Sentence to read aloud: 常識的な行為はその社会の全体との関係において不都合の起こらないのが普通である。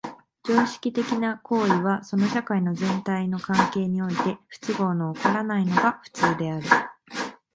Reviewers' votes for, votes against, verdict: 0, 2, rejected